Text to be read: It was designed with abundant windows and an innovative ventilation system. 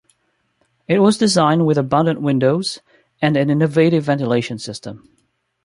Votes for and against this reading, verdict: 2, 1, accepted